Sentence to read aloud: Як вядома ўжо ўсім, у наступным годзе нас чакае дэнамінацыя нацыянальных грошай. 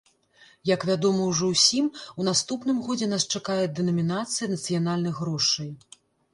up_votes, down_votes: 2, 0